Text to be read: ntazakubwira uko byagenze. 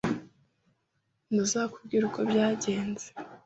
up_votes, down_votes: 2, 0